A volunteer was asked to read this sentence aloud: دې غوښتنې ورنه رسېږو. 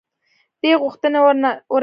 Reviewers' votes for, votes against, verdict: 1, 2, rejected